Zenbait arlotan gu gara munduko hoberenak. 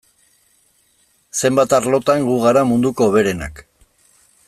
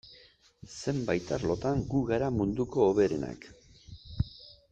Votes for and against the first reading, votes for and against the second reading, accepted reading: 1, 2, 2, 0, second